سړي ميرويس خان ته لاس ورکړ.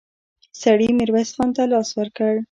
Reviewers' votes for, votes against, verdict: 1, 2, rejected